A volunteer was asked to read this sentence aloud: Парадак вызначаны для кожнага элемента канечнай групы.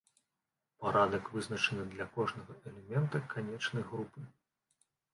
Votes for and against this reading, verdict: 1, 2, rejected